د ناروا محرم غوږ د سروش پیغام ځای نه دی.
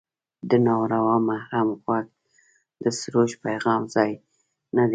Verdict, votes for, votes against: rejected, 1, 2